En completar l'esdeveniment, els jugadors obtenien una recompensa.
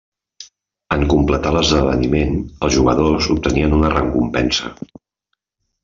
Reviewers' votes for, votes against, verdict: 0, 2, rejected